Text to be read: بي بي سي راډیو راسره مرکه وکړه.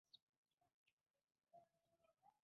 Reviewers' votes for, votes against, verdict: 1, 2, rejected